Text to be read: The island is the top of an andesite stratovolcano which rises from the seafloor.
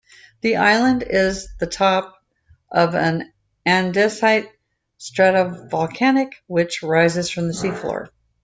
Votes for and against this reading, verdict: 0, 2, rejected